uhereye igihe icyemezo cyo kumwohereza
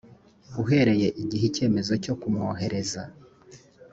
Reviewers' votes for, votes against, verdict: 2, 0, accepted